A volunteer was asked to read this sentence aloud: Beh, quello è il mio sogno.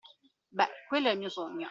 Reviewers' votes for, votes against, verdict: 2, 0, accepted